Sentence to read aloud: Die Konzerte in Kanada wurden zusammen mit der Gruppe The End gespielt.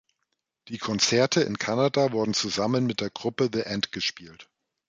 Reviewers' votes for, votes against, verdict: 2, 0, accepted